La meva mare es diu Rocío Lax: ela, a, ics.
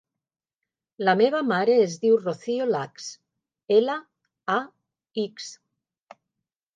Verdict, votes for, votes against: accepted, 3, 0